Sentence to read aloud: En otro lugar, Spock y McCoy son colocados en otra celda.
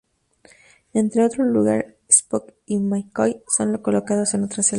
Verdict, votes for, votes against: accepted, 2, 0